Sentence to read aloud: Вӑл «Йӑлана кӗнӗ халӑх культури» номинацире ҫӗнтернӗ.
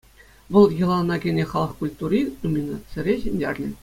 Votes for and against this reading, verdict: 2, 0, accepted